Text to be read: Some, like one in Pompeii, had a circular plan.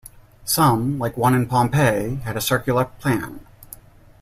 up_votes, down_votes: 2, 0